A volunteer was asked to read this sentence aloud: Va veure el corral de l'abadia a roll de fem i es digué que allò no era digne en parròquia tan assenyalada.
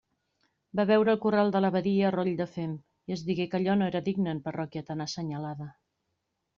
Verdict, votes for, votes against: accepted, 2, 0